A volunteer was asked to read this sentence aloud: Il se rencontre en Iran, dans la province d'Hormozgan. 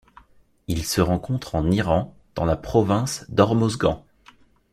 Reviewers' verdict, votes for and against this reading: accepted, 2, 0